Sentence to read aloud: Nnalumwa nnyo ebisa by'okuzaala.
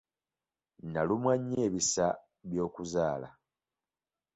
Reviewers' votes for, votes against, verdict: 2, 1, accepted